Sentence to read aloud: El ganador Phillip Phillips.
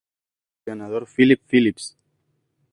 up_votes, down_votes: 2, 0